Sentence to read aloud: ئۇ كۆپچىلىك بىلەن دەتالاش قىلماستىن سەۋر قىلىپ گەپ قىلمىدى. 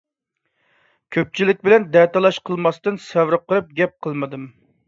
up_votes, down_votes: 0, 2